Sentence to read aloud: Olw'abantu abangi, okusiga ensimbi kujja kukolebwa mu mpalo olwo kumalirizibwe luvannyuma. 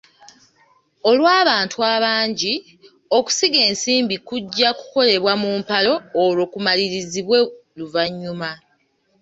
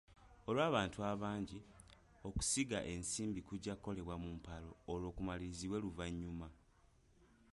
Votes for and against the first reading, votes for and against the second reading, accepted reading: 2, 0, 0, 2, first